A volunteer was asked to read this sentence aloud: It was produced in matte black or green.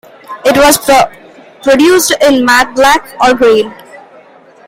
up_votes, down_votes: 1, 2